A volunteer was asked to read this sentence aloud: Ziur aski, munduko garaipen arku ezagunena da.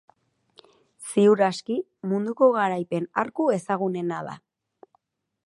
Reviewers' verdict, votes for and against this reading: accepted, 4, 0